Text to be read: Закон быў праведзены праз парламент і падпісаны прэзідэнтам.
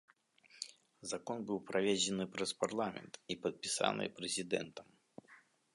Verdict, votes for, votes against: rejected, 1, 2